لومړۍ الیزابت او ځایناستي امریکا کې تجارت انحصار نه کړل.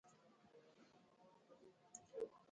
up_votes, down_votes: 0, 2